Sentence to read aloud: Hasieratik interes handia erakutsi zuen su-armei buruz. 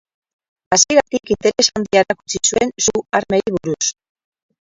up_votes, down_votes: 0, 4